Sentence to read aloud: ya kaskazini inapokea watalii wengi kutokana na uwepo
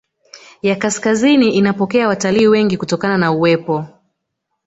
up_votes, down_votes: 2, 0